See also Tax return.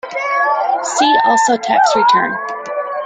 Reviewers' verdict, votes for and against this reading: accepted, 2, 1